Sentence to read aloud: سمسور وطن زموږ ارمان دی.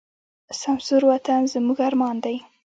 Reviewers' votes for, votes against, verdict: 1, 2, rejected